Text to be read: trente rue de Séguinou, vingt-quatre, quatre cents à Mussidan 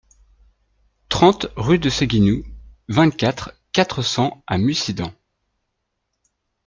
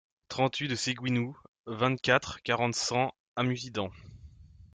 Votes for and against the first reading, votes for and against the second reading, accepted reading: 2, 0, 1, 2, first